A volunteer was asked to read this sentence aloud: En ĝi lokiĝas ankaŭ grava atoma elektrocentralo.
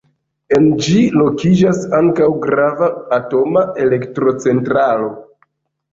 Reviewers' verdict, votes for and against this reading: accepted, 2, 0